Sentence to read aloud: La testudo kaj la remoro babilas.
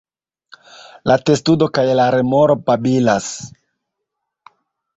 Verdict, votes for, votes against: accepted, 2, 0